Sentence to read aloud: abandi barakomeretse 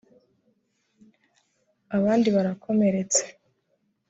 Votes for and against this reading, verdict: 2, 1, accepted